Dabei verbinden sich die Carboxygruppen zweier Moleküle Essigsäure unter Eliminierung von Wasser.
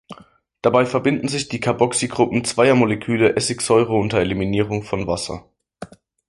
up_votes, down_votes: 2, 0